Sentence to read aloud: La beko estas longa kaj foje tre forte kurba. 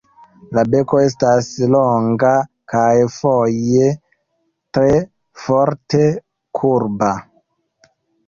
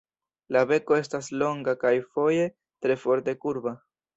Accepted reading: second